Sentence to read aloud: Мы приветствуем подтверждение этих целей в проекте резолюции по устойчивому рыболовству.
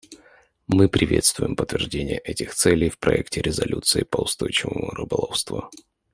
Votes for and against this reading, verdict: 2, 0, accepted